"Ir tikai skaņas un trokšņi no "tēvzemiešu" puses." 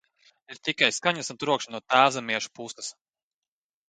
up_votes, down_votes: 2, 0